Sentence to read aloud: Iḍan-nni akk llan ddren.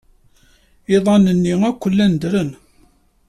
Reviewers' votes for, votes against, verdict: 2, 0, accepted